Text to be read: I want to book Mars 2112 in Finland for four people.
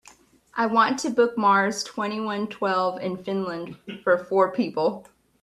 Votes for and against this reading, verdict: 0, 2, rejected